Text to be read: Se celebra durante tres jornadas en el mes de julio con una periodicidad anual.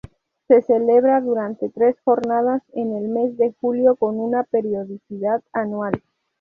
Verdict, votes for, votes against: rejected, 0, 2